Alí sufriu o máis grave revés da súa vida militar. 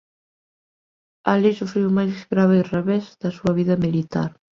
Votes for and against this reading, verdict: 3, 2, accepted